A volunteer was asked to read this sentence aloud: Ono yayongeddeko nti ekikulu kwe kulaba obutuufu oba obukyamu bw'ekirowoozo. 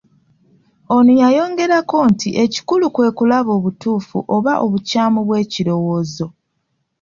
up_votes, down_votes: 1, 2